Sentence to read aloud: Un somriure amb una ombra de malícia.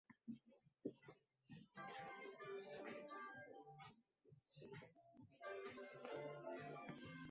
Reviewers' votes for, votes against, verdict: 0, 2, rejected